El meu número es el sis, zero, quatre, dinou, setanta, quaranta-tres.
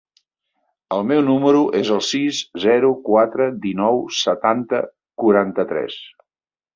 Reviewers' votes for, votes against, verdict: 3, 0, accepted